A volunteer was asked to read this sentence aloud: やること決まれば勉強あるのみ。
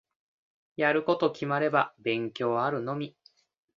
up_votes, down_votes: 2, 1